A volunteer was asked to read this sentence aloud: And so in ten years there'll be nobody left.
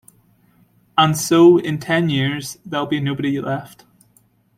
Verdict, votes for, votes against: rejected, 1, 2